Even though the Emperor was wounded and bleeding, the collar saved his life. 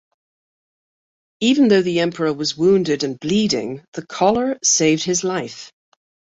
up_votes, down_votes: 2, 0